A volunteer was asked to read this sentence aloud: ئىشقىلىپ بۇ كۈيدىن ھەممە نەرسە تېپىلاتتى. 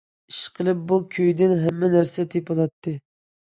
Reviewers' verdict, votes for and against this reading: accepted, 2, 0